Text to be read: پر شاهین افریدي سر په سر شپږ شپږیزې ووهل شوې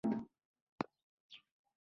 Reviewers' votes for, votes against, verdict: 0, 2, rejected